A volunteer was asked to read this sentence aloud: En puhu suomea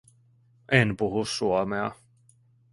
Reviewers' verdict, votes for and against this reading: accepted, 2, 0